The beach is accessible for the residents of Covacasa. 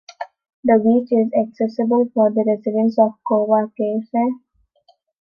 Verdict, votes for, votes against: accepted, 2, 0